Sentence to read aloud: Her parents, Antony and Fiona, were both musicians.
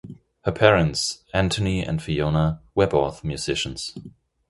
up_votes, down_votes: 2, 0